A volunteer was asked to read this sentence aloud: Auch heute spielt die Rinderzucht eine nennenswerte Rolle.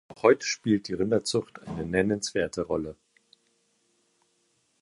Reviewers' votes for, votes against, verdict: 1, 2, rejected